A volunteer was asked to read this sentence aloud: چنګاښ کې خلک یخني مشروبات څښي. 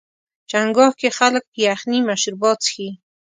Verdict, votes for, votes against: accepted, 2, 0